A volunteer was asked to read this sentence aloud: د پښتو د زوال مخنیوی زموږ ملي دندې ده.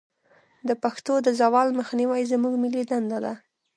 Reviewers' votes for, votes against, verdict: 0, 2, rejected